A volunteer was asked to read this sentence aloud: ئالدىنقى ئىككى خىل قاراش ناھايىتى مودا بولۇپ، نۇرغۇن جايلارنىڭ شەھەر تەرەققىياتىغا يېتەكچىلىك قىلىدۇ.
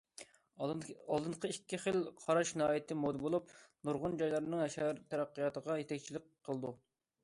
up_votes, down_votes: 2, 1